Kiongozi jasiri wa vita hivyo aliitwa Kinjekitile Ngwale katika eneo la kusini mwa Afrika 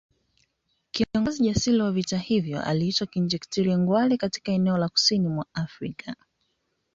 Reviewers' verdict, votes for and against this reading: accepted, 2, 0